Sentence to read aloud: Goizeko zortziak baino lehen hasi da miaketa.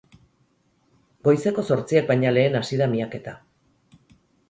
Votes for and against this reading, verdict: 2, 4, rejected